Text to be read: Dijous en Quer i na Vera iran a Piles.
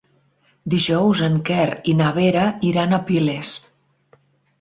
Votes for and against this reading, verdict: 4, 0, accepted